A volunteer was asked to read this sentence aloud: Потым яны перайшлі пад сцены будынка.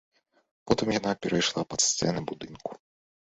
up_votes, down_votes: 0, 2